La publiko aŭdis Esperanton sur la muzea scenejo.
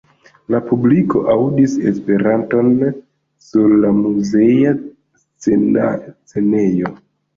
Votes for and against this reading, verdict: 1, 2, rejected